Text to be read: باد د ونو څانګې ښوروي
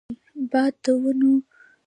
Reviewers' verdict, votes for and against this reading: rejected, 1, 2